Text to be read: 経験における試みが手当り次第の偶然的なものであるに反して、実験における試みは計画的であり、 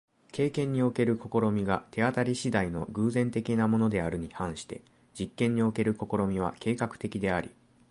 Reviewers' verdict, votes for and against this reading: accepted, 2, 0